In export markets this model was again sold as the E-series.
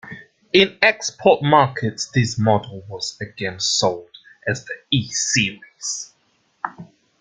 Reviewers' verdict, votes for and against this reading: accepted, 2, 0